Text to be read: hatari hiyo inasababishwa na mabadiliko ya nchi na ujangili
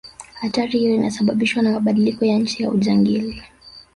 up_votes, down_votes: 1, 2